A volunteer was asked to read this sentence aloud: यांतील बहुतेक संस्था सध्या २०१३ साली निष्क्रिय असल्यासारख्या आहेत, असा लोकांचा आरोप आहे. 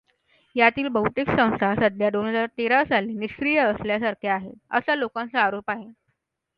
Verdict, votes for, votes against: rejected, 0, 2